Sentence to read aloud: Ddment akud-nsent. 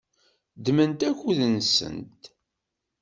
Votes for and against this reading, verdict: 2, 0, accepted